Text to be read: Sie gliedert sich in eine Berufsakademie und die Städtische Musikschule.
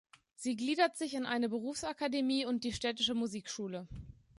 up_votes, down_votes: 3, 0